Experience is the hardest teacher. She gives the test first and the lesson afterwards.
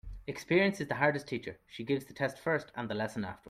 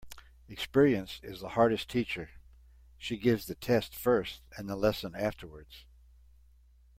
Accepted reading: second